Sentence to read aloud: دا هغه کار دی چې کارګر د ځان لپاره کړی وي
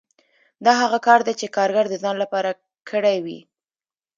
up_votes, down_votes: 2, 0